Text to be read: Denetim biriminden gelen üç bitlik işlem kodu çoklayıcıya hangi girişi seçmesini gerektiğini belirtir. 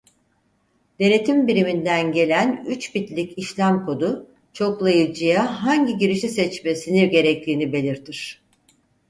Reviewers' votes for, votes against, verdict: 4, 0, accepted